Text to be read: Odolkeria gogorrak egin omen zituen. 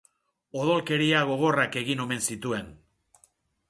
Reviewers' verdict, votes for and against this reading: accepted, 2, 0